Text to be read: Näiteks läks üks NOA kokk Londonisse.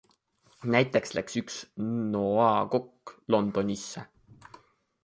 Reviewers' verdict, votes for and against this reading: accepted, 2, 1